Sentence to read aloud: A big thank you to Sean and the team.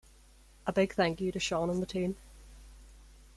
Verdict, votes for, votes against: accepted, 2, 0